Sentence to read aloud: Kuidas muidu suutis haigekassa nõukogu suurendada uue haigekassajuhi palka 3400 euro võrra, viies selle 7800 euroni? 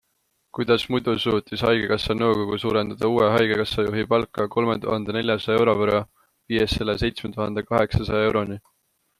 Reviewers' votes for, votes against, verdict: 0, 2, rejected